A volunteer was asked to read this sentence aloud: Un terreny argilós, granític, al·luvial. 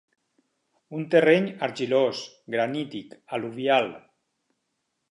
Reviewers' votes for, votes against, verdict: 4, 0, accepted